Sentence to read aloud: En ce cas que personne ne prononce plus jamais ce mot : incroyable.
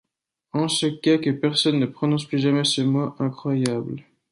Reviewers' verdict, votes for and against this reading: rejected, 0, 2